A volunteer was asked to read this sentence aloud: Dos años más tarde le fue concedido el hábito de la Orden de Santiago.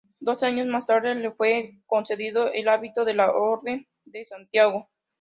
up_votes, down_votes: 2, 1